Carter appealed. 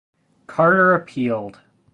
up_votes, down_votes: 2, 0